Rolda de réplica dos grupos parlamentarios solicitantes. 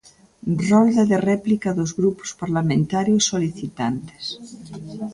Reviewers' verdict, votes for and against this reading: accepted, 2, 0